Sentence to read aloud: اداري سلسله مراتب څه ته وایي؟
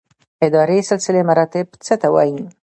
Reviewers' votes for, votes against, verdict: 1, 2, rejected